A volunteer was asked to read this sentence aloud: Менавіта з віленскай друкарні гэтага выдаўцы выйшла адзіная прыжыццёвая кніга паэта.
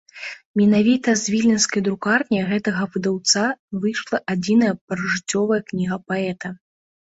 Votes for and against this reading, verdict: 1, 2, rejected